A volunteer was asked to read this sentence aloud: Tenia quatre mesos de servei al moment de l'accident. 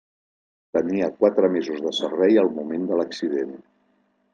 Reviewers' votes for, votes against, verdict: 1, 2, rejected